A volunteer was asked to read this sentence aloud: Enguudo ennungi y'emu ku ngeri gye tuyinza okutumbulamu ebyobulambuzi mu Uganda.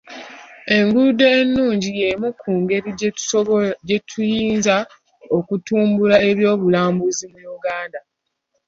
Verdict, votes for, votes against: rejected, 1, 2